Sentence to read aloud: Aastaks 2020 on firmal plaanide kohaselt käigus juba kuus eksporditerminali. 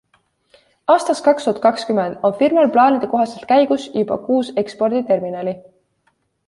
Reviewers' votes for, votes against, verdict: 0, 2, rejected